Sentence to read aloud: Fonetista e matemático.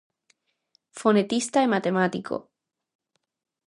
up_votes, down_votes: 2, 0